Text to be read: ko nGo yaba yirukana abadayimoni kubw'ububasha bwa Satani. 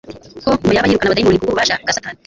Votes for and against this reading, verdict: 1, 2, rejected